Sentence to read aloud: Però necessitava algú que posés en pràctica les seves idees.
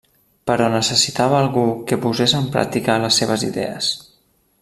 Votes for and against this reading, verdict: 3, 0, accepted